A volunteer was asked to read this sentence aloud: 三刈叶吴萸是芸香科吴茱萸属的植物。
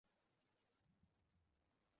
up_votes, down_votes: 0, 5